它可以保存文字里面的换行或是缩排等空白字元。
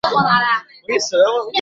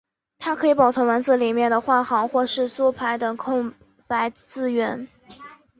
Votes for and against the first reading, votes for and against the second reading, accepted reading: 0, 2, 2, 1, second